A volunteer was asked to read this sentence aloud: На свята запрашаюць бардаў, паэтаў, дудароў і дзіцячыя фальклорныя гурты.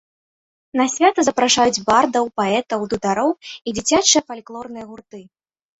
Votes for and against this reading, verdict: 2, 0, accepted